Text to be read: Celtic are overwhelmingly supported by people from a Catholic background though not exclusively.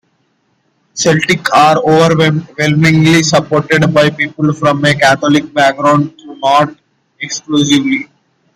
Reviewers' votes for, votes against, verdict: 0, 2, rejected